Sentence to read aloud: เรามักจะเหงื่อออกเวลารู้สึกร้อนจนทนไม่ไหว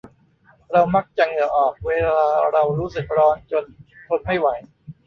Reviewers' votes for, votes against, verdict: 0, 2, rejected